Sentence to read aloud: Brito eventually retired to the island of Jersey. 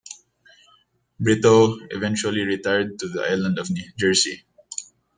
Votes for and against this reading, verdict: 0, 2, rejected